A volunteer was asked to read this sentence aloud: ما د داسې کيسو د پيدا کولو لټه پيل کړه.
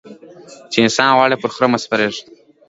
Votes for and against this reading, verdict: 0, 2, rejected